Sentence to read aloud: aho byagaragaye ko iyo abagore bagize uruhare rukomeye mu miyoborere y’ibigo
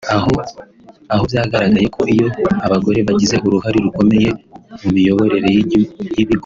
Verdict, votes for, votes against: rejected, 1, 2